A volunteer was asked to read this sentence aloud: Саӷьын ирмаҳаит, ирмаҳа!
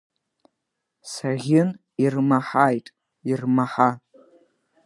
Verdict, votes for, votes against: accepted, 3, 0